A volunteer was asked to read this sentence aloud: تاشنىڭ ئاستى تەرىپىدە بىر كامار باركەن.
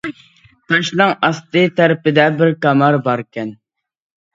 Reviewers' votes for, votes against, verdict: 1, 2, rejected